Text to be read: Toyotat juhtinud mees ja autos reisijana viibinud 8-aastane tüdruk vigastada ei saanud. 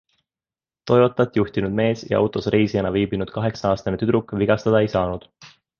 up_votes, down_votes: 0, 2